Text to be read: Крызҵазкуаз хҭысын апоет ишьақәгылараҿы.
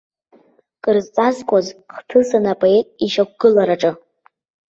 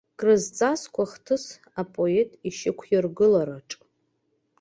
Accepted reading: first